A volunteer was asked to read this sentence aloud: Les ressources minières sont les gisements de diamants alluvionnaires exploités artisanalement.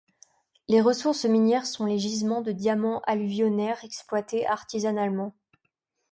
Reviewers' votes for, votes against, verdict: 2, 0, accepted